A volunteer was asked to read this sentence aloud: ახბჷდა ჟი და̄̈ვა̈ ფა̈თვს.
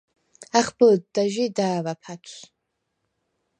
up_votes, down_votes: 0, 4